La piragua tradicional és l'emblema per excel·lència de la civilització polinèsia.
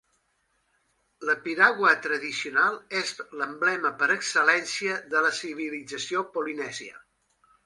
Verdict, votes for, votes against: accepted, 4, 0